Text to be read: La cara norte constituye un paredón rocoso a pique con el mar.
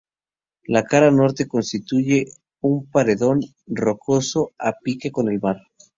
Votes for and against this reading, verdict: 2, 0, accepted